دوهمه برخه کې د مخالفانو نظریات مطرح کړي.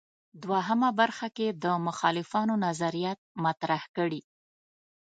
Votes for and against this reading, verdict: 2, 0, accepted